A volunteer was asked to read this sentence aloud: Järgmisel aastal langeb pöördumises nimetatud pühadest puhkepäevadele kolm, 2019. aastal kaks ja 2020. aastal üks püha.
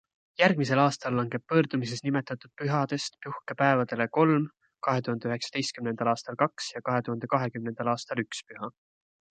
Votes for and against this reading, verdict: 0, 2, rejected